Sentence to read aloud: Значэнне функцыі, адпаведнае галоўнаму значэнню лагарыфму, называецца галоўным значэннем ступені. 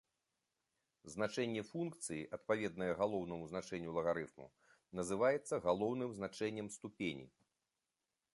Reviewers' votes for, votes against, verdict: 2, 1, accepted